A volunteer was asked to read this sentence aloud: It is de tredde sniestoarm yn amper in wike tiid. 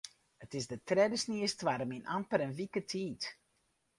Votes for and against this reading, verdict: 2, 2, rejected